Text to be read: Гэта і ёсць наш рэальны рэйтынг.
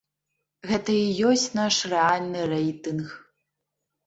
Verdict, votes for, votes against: accepted, 2, 0